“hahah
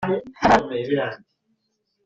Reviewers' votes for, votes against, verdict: 1, 2, rejected